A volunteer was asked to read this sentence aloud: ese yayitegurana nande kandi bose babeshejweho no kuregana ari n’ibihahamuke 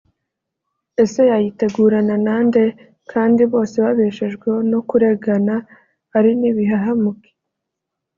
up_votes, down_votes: 2, 0